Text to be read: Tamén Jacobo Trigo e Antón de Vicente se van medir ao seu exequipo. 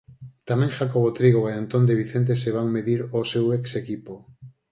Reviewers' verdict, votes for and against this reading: accepted, 4, 0